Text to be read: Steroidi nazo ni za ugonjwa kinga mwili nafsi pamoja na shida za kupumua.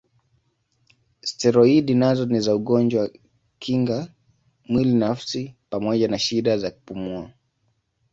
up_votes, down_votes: 2, 0